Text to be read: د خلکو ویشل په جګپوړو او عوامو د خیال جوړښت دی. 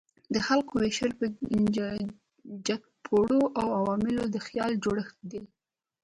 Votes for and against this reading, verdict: 1, 2, rejected